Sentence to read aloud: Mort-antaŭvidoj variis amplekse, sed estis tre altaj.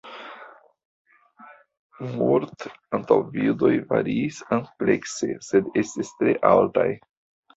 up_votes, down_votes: 0, 2